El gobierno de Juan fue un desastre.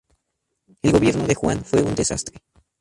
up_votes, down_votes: 2, 2